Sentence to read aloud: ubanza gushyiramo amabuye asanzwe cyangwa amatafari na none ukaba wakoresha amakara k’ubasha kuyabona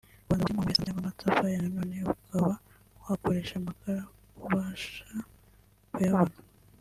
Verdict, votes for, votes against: rejected, 0, 2